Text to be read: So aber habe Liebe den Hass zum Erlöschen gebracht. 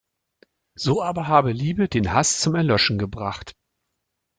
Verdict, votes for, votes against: accepted, 2, 0